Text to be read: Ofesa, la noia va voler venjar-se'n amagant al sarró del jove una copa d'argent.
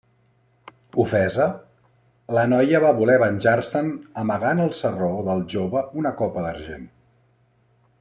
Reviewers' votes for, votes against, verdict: 2, 1, accepted